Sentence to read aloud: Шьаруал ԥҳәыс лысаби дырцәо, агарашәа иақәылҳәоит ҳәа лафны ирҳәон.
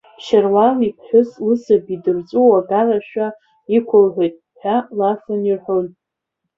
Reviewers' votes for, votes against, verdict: 1, 2, rejected